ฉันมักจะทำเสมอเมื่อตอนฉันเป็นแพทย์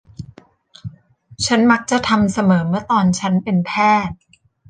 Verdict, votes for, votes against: accepted, 2, 0